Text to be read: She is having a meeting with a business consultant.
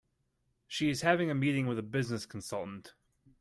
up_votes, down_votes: 2, 0